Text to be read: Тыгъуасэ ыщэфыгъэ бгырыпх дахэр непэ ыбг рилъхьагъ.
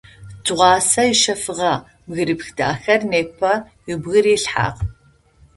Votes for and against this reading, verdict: 2, 0, accepted